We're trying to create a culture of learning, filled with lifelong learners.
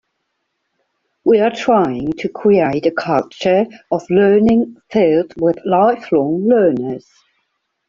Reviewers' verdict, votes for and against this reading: rejected, 0, 2